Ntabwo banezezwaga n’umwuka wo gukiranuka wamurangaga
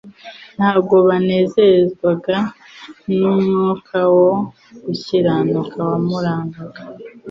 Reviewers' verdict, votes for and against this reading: accepted, 2, 0